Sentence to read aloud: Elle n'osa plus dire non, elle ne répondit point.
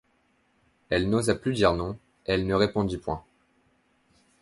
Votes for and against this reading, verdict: 2, 0, accepted